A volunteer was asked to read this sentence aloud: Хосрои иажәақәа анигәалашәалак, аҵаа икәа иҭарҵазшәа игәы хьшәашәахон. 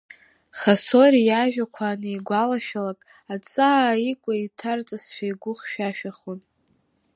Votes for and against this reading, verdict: 2, 0, accepted